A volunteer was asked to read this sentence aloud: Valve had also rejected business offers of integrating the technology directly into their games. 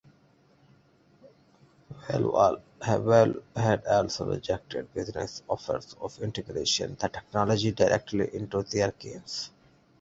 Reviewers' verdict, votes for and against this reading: rejected, 0, 2